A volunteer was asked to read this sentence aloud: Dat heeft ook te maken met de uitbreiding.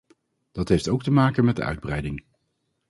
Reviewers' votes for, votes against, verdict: 2, 0, accepted